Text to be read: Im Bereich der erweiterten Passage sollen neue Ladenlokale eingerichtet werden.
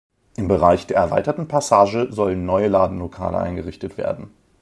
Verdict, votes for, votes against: accepted, 2, 0